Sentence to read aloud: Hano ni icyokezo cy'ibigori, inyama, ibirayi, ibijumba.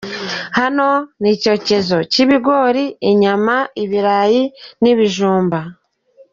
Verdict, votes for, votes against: rejected, 1, 2